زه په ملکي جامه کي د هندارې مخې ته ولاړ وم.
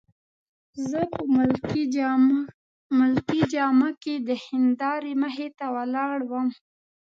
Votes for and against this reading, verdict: 0, 2, rejected